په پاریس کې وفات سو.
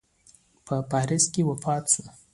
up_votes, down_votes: 2, 0